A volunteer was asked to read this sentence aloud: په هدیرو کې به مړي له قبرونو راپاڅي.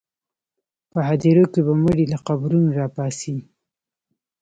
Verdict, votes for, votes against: rejected, 1, 2